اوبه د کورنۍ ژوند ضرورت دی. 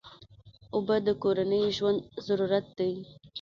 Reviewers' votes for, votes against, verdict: 1, 2, rejected